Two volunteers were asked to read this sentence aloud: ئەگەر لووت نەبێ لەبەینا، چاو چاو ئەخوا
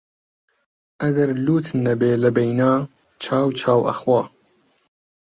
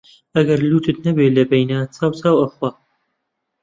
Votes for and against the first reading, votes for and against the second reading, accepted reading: 5, 0, 1, 2, first